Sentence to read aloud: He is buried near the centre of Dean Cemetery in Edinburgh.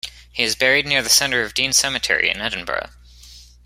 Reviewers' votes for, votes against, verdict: 2, 0, accepted